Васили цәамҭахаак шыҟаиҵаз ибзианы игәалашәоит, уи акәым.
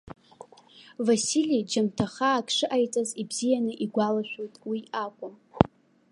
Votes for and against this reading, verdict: 0, 2, rejected